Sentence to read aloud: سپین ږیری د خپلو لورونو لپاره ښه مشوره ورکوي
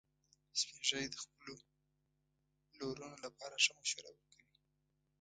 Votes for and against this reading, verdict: 1, 2, rejected